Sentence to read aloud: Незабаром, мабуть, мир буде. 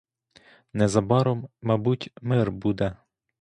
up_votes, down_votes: 2, 0